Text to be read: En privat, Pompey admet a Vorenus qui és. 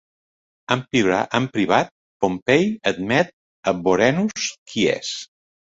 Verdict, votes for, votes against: rejected, 0, 2